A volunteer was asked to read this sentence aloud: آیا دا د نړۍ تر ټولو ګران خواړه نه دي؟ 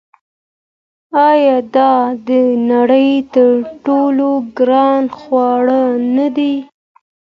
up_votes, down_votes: 2, 0